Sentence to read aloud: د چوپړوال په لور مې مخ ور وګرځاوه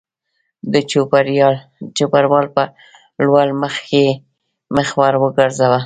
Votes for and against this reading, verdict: 0, 2, rejected